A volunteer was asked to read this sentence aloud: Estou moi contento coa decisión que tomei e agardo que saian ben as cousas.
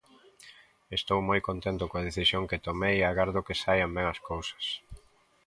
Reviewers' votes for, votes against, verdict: 2, 0, accepted